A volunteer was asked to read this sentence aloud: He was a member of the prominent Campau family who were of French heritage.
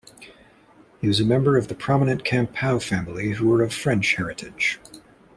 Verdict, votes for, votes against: accepted, 2, 1